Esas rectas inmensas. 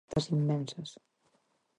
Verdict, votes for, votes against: rejected, 0, 4